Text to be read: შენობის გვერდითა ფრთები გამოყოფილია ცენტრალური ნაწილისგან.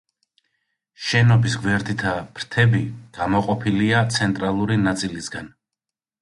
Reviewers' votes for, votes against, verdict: 2, 0, accepted